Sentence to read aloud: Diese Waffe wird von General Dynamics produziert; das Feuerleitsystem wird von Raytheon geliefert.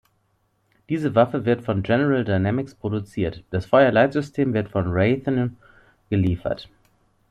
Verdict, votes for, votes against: accepted, 2, 0